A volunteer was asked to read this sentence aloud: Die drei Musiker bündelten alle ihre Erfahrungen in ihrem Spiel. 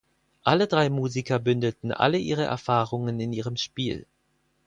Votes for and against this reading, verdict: 2, 4, rejected